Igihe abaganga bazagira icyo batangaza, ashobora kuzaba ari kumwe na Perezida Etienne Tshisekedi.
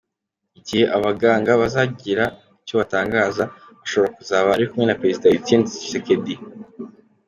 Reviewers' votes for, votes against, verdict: 2, 0, accepted